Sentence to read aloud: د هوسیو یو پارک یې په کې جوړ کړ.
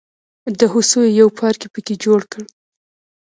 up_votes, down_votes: 1, 2